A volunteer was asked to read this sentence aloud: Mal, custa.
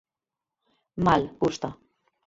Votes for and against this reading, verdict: 2, 4, rejected